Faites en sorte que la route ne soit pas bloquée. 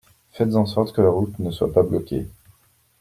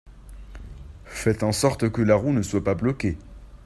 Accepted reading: first